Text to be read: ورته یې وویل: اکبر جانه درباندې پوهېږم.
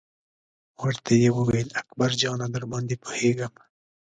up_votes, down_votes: 2, 0